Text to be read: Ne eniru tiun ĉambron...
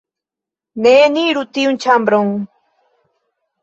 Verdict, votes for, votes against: rejected, 0, 2